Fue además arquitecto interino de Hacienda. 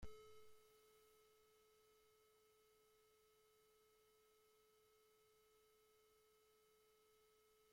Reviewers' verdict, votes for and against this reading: rejected, 0, 2